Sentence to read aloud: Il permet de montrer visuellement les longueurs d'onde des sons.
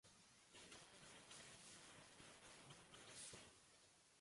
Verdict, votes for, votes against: rejected, 0, 2